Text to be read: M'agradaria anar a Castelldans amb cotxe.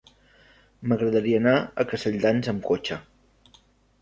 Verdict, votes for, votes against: accepted, 3, 0